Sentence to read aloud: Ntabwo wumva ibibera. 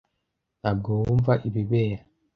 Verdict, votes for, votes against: accepted, 2, 0